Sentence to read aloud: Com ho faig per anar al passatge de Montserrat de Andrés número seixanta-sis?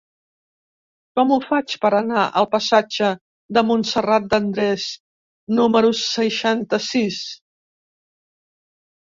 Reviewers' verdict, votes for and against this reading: accepted, 2, 0